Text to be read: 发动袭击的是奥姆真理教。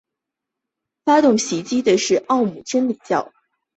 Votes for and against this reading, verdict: 3, 0, accepted